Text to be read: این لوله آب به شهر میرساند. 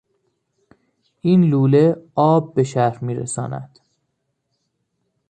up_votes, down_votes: 2, 1